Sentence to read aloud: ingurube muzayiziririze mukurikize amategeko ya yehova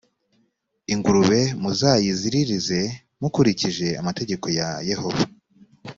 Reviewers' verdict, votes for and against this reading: rejected, 1, 2